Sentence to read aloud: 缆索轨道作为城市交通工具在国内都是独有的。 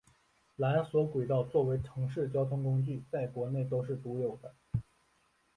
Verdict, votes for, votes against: accepted, 2, 0